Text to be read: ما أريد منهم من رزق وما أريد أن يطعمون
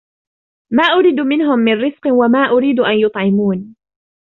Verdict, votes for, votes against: rejected, 0, 2